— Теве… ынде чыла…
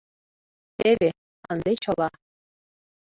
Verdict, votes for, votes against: accepted, 2, 0